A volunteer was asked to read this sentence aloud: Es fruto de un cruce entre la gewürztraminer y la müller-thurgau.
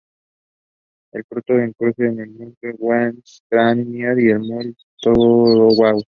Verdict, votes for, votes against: rejected, 0, 2